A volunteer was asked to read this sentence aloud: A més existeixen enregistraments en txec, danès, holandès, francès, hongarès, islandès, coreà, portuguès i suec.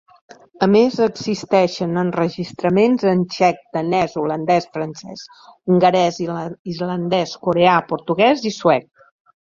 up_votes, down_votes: 0, 2